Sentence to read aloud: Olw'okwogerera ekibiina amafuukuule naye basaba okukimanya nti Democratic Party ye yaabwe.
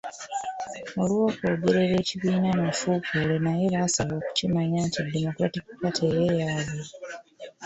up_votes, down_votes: 1, 2